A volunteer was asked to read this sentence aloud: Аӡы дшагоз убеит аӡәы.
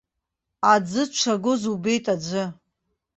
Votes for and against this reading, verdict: 2, 0, accepted